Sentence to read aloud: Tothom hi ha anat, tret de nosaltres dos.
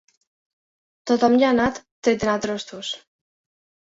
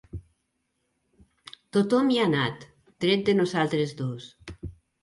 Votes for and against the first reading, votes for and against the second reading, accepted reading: 0, 2, 3, 0, second